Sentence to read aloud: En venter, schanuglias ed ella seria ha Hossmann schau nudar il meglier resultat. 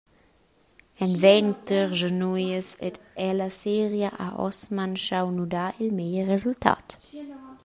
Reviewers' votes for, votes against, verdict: 1, 2, rejected